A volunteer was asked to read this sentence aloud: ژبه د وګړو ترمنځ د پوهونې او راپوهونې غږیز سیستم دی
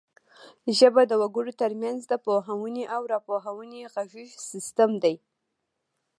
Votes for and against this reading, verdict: 2, 0, accepted